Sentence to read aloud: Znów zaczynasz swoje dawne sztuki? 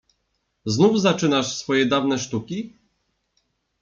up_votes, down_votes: 2, 0